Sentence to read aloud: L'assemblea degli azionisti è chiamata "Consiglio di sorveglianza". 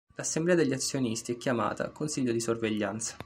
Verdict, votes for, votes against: accepted, 2, 0